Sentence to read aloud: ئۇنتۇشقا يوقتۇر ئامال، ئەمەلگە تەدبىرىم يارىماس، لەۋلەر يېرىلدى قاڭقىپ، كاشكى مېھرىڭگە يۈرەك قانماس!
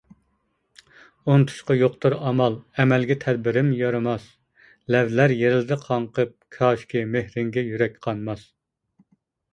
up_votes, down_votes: 2, 0